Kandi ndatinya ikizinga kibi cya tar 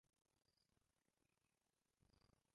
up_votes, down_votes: 0, 2